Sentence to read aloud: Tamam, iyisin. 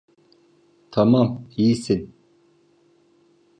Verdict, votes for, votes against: accepted, 2, 0